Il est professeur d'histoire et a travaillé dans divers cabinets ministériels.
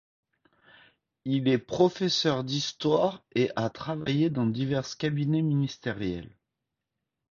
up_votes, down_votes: 0, 2